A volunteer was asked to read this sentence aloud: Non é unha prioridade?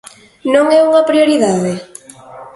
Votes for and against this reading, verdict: 3, 0, accepted